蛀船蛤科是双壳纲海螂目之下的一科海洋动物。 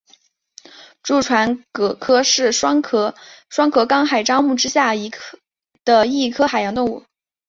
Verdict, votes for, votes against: accepted, 4, 2